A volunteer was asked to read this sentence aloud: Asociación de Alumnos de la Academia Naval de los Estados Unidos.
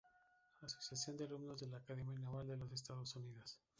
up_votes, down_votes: 0, 2